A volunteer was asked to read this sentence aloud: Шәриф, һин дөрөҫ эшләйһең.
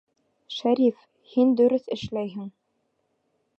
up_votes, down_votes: 2, 0